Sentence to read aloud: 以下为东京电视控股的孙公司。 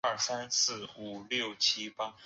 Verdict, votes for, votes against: rejected, 0, 4